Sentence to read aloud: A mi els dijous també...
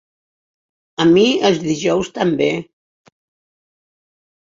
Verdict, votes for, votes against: accepted, 6, 0